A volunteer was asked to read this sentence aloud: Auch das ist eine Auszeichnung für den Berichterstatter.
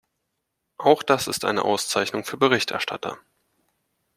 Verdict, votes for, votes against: rejected, 1, 2